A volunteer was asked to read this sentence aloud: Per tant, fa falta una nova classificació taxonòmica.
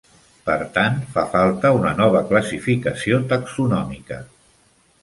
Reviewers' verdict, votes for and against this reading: accepted, 3, 0